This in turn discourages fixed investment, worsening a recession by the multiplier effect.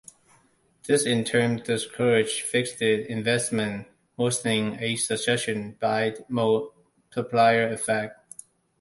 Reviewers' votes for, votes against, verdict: 1, 2, rejected